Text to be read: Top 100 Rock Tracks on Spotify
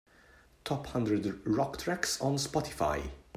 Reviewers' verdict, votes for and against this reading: rejected, 0, 2